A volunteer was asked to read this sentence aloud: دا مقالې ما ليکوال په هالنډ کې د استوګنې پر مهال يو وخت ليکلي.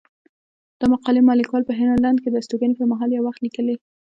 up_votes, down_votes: 1, 2